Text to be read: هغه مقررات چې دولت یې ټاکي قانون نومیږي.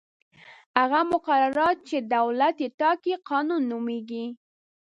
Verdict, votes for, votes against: accepted, 2, 0